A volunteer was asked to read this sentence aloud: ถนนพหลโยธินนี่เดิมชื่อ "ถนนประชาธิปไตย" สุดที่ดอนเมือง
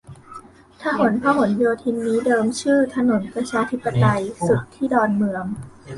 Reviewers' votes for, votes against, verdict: 0, 2, rejected